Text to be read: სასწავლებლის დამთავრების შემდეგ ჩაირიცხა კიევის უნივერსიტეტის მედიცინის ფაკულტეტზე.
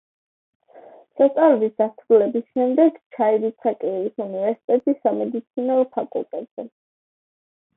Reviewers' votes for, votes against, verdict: 0, 2, rejected